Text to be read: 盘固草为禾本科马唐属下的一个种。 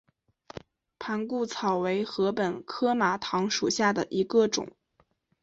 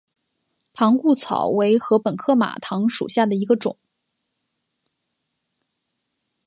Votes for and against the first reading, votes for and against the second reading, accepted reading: 3, 2, 1, 2, first